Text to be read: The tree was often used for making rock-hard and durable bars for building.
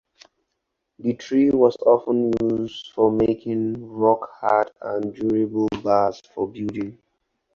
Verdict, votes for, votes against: accepted, 4, 0